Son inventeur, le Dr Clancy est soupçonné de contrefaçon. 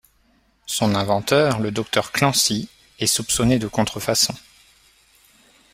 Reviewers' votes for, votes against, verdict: 2, 0, accepted